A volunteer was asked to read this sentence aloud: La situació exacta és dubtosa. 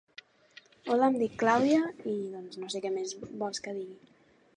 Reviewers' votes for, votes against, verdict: 0, 2, rejected